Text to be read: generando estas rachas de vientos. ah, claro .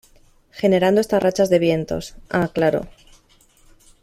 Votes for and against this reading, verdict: 2, 0, accepted